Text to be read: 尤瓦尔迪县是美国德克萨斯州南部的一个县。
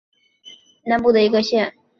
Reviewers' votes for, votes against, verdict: 2, 3, rejected